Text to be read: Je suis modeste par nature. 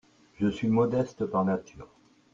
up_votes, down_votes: 2, 0